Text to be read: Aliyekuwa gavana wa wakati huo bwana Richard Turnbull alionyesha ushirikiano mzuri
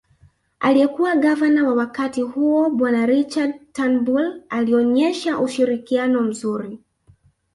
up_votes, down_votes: 2, 1